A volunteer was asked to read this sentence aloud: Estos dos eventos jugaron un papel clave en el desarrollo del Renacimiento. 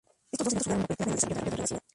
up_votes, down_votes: 0, 2